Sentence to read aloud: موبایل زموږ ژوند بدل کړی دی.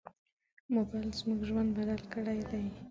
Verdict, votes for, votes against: rejected, 0, 2